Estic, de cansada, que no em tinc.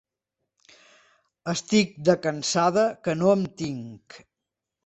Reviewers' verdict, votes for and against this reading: accepted, 2, 0